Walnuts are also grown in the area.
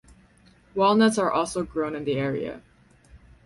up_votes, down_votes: 4, 0